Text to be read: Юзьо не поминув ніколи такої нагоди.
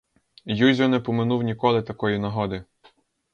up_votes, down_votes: 4, 0